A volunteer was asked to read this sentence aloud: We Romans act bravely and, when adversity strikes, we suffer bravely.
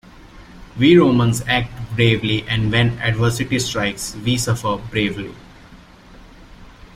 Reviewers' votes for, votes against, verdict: 2, 0, accepted